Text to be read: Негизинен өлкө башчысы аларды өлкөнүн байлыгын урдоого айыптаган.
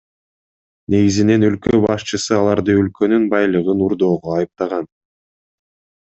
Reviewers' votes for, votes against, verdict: 2, 0, accepted